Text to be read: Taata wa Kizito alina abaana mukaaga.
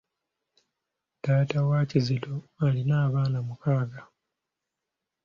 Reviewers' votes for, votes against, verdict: 2, 0, accepted